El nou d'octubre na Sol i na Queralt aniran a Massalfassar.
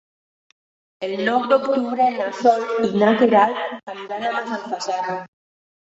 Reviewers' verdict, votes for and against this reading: rejected, 0, 2